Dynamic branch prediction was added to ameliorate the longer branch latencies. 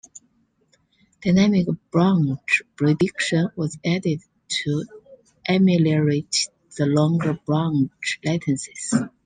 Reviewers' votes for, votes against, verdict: 2, 0, accepted